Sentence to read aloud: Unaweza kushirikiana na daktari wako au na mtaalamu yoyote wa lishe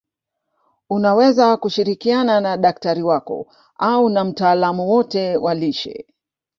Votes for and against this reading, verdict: 1, 2, rejected